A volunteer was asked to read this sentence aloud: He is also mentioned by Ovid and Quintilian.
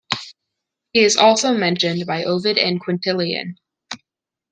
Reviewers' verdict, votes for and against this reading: accepted, 2, 0